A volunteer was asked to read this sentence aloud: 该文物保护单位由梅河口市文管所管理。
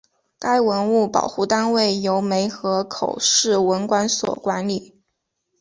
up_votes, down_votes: 2, 0